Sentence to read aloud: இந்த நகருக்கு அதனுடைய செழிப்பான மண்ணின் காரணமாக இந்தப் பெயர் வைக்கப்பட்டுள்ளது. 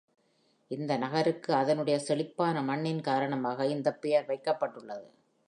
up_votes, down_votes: 4, 0